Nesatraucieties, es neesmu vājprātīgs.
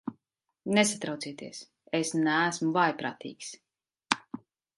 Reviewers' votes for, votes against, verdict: 2, 0, accepted